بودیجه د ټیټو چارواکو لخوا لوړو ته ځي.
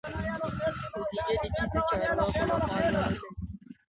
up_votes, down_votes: 0, 2